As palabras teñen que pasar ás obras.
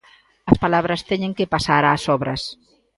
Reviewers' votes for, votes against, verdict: 2, 0, accepted